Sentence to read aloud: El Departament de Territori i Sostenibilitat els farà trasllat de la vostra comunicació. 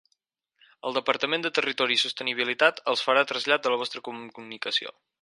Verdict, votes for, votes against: rejected, 0, 4